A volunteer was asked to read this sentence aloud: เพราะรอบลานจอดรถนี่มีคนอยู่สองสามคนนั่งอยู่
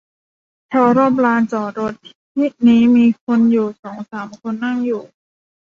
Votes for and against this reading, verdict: 1, 2, rejected